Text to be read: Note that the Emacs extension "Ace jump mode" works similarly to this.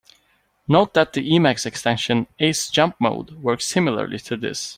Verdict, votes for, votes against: accepted, 2, 0